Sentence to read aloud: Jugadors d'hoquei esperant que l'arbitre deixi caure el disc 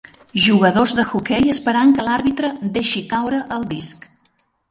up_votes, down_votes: 1, 3